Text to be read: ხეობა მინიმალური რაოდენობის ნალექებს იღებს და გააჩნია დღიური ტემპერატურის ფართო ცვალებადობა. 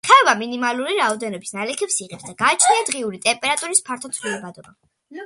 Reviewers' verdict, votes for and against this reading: accepted, 2, 0